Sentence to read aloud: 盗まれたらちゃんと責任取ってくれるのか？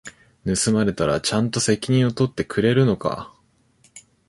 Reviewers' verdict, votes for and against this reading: rejected, 1, 2